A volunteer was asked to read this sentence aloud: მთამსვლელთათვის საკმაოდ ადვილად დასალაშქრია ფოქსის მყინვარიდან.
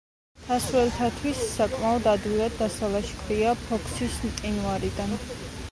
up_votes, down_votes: 2, 0